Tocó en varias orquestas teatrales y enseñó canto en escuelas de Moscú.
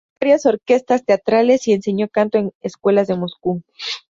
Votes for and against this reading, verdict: 0, 2, rejected